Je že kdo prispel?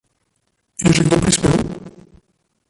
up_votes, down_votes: 0, 2